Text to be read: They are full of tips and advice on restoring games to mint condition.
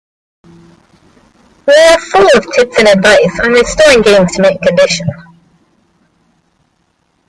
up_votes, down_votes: 0, 2